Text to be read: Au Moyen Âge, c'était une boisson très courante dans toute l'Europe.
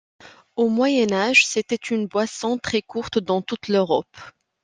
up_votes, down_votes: 0, 2